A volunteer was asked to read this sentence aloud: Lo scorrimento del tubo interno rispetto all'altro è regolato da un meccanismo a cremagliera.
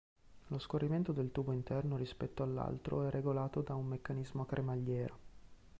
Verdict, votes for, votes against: accepted, 2, 0